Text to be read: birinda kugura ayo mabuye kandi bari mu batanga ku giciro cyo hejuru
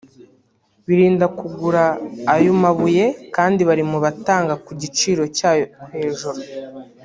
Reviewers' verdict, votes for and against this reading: rejected, 1, 2